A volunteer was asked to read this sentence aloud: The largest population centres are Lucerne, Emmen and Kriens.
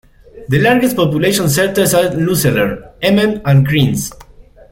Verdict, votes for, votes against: rejected, 1, 2